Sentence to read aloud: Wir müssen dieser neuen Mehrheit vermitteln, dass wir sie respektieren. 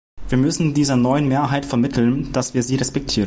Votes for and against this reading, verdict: 0, 2, rejected